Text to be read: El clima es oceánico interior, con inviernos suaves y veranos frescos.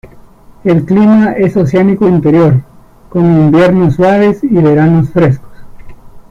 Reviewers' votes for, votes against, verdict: 2, 0, accepted